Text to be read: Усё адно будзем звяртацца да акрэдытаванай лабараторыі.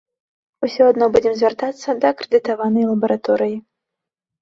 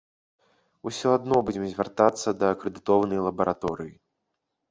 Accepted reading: first